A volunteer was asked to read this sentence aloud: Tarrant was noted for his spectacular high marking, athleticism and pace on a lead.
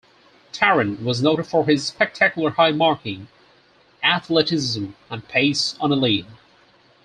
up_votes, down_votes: 4, 0